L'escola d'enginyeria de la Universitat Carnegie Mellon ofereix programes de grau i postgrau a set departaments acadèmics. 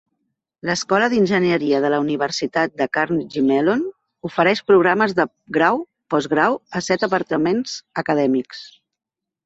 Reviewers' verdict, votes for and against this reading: rejected, 0, 3